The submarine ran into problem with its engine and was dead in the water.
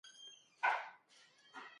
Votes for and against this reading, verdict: 0, 2, rejected